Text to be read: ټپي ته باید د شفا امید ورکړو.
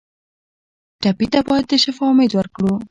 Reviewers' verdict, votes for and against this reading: rejected, 1, 2